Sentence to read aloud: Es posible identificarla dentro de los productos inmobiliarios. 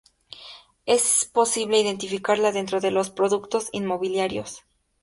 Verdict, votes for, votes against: rejected, 2, 2